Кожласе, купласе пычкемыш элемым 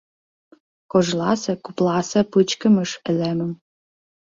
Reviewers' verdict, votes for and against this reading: rejected, 1, 2